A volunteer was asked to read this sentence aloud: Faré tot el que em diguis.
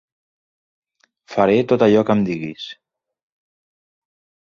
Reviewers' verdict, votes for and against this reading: rejected, 1, 3